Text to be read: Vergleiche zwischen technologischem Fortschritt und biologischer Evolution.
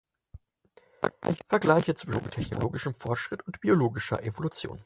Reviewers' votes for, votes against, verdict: 0, 4, rejected